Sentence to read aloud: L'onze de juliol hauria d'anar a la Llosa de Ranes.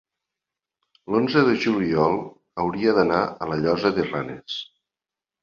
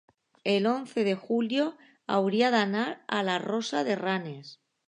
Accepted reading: first